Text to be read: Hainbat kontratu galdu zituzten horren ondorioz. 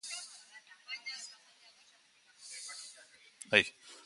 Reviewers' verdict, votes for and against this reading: rejected, 0, 3